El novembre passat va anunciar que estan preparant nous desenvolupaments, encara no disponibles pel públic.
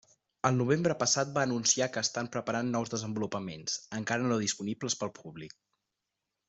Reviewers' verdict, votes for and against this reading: accepted, 3, 0